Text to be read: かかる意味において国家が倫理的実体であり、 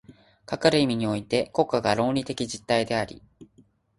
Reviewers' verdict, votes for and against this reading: accepted, 3, 1